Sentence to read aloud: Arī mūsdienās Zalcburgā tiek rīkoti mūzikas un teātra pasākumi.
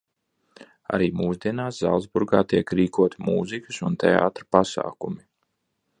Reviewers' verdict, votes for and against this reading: accepted, 2, 0